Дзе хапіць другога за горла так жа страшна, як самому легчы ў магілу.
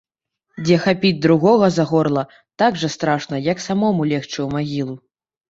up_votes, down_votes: 2, 0